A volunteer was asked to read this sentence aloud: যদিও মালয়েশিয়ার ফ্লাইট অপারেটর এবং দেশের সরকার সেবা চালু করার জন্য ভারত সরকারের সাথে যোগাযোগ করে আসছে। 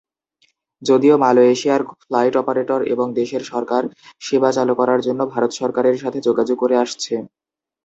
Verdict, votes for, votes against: accepted, 2, 0